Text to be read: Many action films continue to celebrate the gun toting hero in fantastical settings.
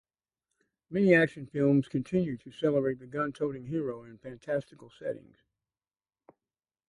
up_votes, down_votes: 2, 0